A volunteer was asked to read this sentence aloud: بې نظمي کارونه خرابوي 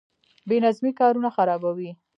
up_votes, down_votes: 0, 2